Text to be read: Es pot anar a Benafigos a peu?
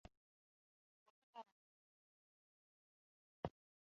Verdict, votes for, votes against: rejected, 1, 2